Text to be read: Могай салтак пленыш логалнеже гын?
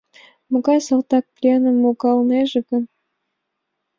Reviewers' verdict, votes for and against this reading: rejected, 0, 2